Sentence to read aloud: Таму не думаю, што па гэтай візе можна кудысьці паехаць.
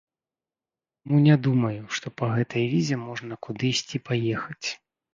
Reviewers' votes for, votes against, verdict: 1, 2, rejected